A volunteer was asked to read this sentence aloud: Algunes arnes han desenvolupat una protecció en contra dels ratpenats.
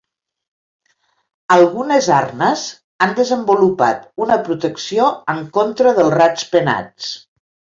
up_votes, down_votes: 0, 2